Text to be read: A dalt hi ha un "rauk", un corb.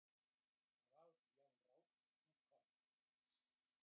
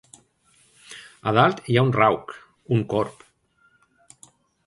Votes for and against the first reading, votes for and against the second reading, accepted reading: 0, 3, 2, 0, second